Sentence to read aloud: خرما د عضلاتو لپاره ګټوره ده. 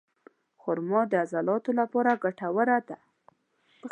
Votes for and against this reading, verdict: 2, 0, accepted